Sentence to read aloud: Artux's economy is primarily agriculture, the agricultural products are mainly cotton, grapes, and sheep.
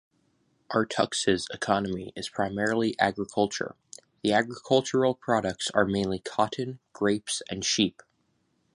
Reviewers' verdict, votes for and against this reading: accepted, 2, 0